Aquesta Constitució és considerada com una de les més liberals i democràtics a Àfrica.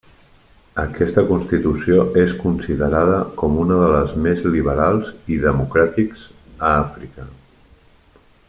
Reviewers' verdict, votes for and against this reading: accepted, 3, 1